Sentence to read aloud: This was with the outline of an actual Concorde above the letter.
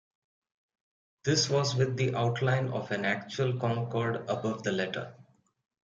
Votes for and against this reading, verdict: 2, 0, accepted